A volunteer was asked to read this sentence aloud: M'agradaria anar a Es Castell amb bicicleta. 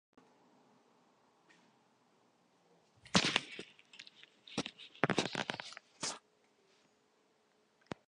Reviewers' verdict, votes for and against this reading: rejected, 0, 2